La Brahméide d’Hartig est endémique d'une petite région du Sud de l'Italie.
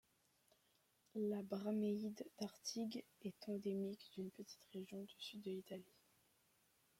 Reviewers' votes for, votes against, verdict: 1, 2, rejected